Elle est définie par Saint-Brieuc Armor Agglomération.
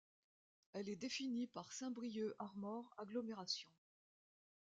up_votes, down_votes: 2, 0